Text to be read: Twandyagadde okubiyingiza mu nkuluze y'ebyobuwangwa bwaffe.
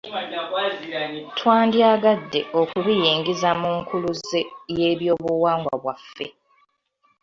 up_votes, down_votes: 2, 0